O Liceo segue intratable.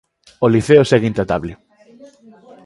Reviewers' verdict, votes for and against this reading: accepted, 2, 0